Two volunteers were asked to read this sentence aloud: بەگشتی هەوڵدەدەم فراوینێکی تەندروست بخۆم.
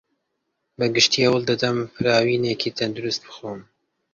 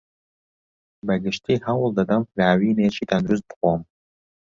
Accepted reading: first